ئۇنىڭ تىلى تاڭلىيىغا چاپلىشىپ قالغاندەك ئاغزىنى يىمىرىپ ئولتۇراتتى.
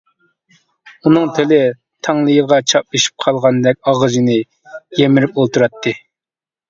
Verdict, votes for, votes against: accepted, 2, 0